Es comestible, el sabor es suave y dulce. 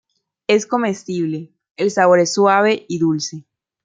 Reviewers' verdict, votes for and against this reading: accepted, 2, 0